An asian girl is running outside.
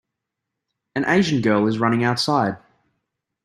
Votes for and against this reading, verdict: 2, 0, accepted